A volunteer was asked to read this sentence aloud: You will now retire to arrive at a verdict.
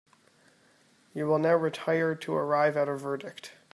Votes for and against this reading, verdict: 2, 0, accepted